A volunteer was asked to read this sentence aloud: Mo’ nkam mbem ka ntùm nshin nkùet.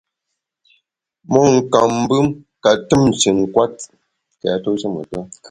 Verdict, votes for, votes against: rejected, 1, 2